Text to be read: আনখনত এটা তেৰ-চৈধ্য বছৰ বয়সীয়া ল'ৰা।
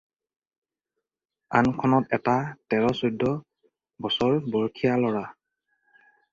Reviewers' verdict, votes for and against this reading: accepted, 4, 0